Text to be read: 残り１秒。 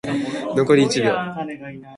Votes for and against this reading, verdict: 0, 2, rejected